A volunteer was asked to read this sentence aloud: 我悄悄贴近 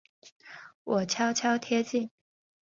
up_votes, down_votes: 2, 0